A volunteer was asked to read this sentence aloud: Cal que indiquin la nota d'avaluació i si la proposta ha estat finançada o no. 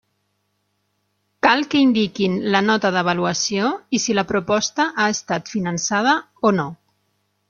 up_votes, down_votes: 3, 0